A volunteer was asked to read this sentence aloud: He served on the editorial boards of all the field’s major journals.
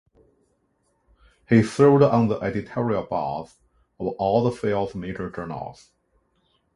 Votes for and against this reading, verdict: 2, 1, accepted